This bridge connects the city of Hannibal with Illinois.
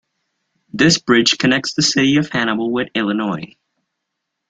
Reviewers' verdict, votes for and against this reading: accepted, 2, 0